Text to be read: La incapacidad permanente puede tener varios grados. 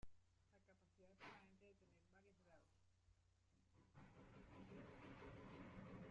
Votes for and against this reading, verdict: 0, 2, rejected